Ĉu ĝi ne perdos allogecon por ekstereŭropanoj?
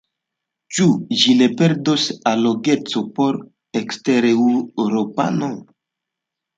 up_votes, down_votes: 2, 1